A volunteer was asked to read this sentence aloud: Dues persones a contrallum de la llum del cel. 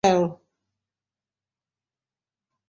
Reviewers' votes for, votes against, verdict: 1, 3, rejected